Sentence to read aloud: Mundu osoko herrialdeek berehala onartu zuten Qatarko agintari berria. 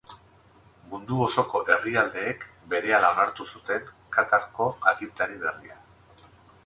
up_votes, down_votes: 2, 2